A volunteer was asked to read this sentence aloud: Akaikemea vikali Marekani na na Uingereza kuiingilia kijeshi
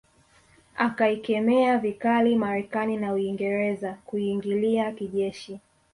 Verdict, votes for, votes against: rejected, 0, 2